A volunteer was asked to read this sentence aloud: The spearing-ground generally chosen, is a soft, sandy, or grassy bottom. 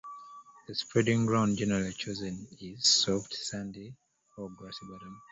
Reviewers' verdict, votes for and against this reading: rejected, 0, 2